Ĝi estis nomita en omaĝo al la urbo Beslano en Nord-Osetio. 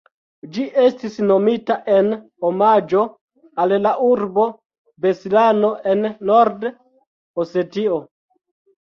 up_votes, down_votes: 0, 2